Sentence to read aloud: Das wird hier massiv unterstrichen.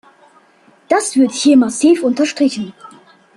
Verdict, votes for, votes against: accepted, 2, 0